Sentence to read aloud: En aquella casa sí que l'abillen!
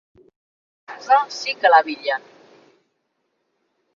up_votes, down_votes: 0, 3